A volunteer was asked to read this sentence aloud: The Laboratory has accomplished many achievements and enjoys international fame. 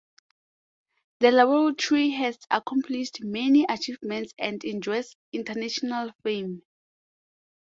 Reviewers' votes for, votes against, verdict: 2, 0, accepted